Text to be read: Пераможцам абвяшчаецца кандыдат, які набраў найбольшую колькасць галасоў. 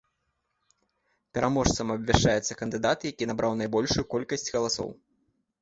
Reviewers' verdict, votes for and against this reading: accepted, 2, 0